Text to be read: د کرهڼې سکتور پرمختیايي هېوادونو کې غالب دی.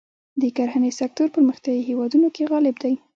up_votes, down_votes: 2, 0